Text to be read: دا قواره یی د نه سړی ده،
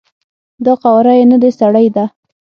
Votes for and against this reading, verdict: 3, 6, rejected